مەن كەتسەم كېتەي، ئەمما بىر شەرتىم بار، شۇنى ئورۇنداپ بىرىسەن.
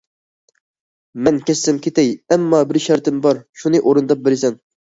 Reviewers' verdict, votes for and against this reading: accepted, 2, 0